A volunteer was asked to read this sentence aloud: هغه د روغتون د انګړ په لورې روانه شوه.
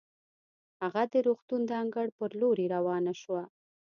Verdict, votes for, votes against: accepted, 2, 0